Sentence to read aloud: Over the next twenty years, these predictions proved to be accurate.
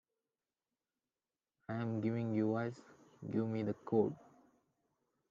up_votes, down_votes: 0, 2